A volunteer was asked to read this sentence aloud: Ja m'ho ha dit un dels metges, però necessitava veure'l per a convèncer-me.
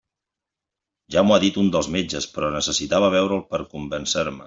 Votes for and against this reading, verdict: 0, 2, rejected